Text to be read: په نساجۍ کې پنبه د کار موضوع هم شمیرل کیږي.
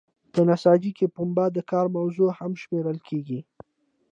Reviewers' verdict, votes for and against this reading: accepted, 2, 1